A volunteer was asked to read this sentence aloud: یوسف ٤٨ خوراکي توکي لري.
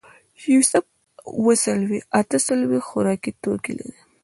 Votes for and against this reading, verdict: 0, 2, rejected